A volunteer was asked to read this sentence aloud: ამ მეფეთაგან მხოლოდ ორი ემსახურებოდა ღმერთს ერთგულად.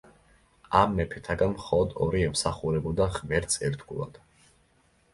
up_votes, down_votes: 2, 0